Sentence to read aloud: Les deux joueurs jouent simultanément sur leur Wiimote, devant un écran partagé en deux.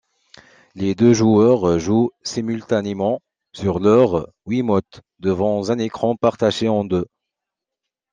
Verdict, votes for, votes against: accepted, 2, 1